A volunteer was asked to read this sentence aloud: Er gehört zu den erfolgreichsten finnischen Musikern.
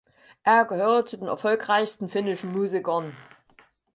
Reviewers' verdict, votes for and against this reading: accepted, 4, 0